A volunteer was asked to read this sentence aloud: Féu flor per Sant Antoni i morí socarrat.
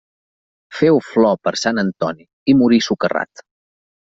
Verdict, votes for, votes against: accepted, 2, 0